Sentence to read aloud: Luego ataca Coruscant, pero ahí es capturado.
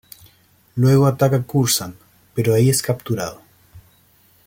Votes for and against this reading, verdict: 1, 2, rejected